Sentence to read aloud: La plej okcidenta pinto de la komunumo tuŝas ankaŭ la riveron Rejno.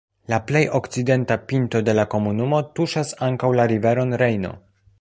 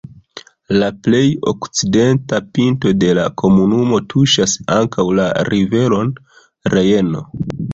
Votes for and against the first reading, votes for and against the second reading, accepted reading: 2, 1, 1, 2, first